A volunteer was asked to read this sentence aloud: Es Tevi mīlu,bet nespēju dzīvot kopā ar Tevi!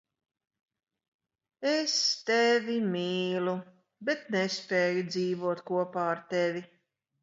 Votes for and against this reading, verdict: 4, 2, accepted